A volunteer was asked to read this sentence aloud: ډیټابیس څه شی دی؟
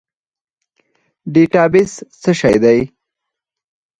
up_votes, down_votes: 2, 4